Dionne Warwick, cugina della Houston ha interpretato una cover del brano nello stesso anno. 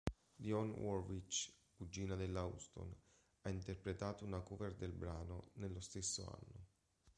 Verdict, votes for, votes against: rejected, 0, 2